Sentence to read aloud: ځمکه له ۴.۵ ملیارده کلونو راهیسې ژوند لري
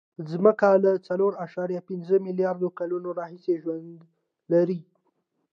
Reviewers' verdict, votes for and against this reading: rejected, 0, 2